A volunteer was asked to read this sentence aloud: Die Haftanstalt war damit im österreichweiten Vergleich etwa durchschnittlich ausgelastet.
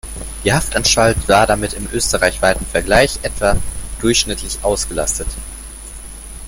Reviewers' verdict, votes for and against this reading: accepted, 2, 1